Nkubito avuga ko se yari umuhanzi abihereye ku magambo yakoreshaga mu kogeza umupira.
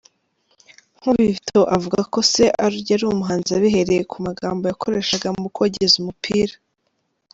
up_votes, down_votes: 0, 2